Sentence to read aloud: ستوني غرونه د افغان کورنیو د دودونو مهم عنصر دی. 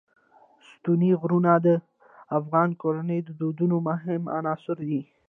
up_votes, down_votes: 1, 2